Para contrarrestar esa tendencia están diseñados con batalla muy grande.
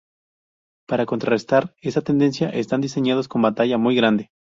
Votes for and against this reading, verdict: 2, 2, rejected